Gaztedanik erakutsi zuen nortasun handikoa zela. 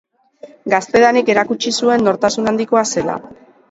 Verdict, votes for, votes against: accepted, 2, 0